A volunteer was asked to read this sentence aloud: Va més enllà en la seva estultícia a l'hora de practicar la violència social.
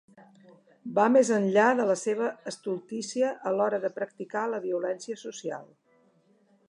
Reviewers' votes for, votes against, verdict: 1, 2, rejected